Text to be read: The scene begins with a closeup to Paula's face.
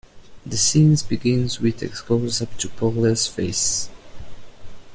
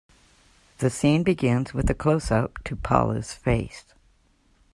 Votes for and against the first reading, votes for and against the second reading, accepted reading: 0, 2, 2, 1, second